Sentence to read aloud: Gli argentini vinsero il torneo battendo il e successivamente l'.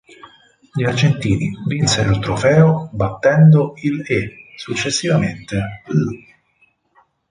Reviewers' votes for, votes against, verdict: 0, 4, rejected